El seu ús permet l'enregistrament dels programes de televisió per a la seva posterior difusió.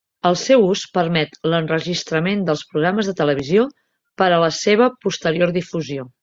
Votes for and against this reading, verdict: 4, 0, accepted